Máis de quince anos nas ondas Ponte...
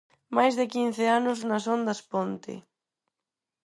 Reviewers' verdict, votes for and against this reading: accepted, 4, 0